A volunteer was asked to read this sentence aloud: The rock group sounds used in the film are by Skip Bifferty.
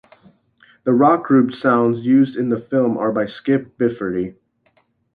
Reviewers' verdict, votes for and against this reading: accepted, 2, 0